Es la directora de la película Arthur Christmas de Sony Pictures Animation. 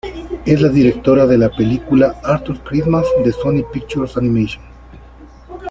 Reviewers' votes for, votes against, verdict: 2, 0, accepted